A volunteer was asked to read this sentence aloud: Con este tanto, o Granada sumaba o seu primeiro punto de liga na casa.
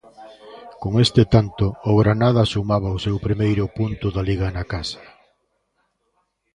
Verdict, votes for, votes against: rejected, 0, 2